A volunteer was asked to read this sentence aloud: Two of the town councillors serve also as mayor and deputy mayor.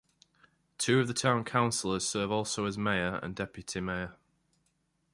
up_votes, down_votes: 2, 1